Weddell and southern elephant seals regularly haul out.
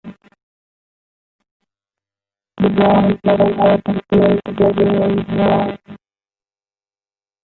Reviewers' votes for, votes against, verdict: 0, 2, rejected